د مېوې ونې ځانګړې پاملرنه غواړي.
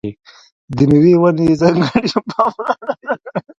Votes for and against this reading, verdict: 0, 2, rejected